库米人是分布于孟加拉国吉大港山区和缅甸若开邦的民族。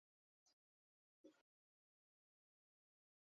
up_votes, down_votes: 0, 3